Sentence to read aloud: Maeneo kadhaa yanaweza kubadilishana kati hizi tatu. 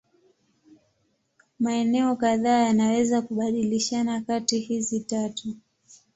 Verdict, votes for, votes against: accepted, 2, 0